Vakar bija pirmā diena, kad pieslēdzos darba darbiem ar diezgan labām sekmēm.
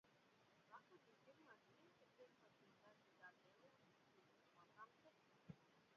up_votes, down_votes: 0, 2